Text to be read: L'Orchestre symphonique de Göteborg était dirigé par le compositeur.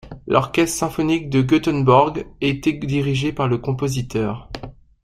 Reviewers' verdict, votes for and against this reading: rejected, 1, 2